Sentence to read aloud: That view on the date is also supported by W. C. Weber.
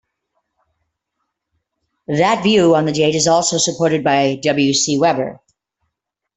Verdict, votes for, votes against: accepted, 2, 0